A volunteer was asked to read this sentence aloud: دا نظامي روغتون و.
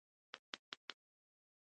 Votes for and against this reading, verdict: 0, 2, rejected